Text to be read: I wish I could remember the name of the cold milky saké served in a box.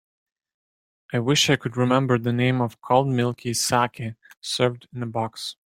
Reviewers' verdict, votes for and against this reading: rejected, 1, 2